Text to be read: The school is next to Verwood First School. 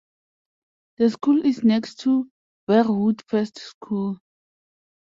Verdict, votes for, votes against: accepted, 2, 0